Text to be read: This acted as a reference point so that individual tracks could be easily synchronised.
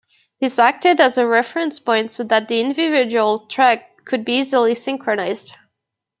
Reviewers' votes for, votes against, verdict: 1, 2, rejected